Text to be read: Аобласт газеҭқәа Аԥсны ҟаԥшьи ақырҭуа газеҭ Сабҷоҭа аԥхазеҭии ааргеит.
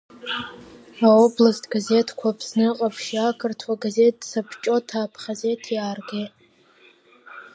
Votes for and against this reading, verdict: 5, 0, accepted